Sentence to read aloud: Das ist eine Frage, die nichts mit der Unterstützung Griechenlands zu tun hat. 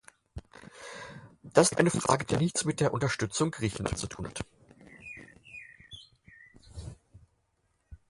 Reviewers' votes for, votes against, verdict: 0, 4, rejected